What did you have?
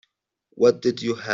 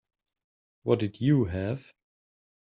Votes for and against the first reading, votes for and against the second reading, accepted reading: 3, 5, 2, 0, second